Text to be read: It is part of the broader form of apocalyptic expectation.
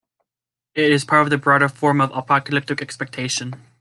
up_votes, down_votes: 2, 1